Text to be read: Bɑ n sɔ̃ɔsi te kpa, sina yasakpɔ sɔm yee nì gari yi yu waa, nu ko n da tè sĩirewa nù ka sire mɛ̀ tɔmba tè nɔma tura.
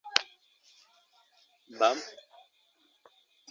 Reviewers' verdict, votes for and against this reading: rejected, 0, 2